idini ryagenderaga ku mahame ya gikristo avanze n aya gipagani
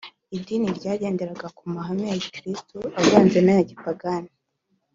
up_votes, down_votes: 2, 0